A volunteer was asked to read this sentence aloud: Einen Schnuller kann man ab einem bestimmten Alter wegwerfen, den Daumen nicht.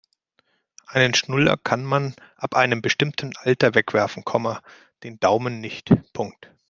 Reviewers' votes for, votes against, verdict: 0, 2, rejected